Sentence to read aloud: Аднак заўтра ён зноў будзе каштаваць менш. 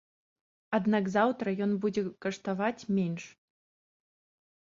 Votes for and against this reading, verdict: 1, 2, rejected